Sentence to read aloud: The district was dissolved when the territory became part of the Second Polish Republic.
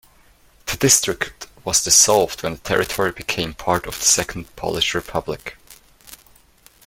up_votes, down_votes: 2, 1